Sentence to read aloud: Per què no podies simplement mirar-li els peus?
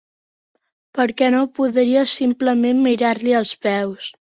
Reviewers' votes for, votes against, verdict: 1, 2, rejected